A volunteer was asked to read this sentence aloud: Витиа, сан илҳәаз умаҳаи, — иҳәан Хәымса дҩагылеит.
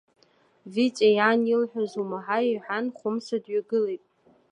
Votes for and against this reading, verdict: 2, 1, accepted